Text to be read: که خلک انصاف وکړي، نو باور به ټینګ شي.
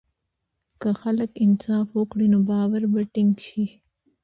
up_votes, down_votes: 0, 2